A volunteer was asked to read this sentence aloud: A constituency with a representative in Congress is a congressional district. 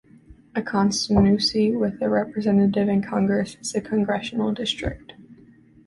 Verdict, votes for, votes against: rejected, 1, 2